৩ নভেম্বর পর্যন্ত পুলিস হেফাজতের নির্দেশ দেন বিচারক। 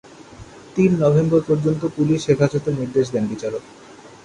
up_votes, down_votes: 0, 2